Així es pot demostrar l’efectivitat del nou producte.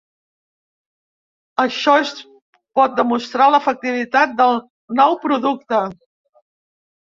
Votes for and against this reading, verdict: 1, 2, rejected